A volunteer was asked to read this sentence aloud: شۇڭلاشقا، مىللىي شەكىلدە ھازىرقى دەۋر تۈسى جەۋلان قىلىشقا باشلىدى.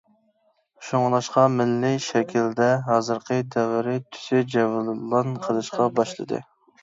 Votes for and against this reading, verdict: 0, 2, rejected